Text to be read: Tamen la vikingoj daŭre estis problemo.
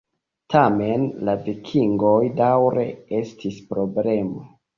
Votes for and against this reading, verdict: 2, 0, accepted